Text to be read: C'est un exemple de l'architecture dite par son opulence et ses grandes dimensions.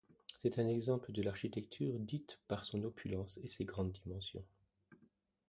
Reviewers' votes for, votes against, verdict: 0, 2, rejected